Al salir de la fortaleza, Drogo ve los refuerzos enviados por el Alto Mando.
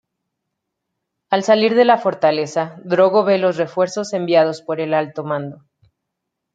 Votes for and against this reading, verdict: 2, 0, accepted